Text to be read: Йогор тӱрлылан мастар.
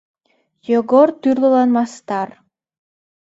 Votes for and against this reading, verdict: 2, 0, accepted